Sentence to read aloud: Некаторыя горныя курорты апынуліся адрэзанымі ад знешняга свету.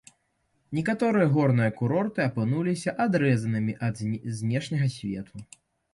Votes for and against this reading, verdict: 1, 2, rejected